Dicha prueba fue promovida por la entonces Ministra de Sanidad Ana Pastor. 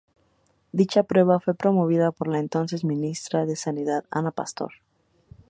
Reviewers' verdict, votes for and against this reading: accepted, 2, 0